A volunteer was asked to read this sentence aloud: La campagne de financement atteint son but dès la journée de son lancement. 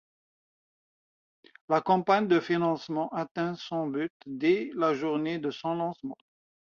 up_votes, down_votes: 2, 1